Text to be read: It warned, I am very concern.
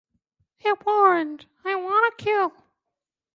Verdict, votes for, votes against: rejected, 0, 2